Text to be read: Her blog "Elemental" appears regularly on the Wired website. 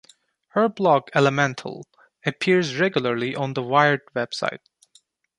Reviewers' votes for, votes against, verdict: 2, 1, accepted